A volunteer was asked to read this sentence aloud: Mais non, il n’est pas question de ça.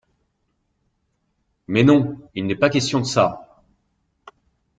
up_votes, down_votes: 2, 0